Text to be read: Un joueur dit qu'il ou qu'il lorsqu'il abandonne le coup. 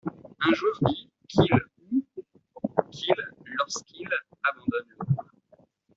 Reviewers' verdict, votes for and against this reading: rejected, 0, 2